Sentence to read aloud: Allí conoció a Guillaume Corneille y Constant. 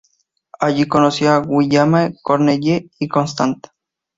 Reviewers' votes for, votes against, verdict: 2, 0, accepted